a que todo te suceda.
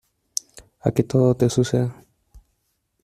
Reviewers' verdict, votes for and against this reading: accepted, 2, 0